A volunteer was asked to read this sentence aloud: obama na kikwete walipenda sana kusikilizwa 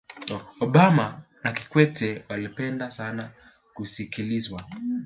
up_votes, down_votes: 3, 1